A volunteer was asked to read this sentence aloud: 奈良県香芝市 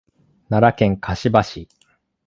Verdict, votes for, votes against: accepted, 2, 0